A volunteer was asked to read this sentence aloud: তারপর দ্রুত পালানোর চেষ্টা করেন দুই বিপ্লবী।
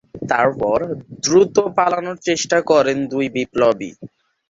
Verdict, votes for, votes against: rejected, 2, 3